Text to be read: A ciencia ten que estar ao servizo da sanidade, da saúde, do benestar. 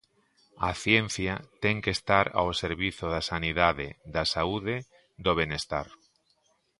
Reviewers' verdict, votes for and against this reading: accepted, 2, 0